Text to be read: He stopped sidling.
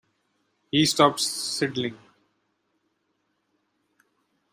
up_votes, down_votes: 2, 0